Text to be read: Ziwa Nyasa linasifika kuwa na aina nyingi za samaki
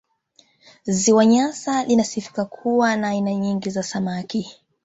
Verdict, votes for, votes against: rejected, 0, 2